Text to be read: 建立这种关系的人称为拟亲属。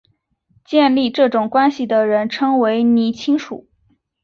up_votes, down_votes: 2, 0